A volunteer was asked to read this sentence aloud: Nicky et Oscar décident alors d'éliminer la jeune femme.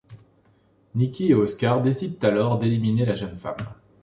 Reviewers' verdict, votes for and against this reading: accepted, 2, 0